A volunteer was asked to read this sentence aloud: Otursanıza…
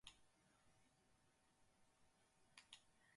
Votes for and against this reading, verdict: 0, 4, rejected